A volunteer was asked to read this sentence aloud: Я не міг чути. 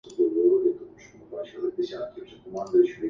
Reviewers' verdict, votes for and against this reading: rejected, 0, 2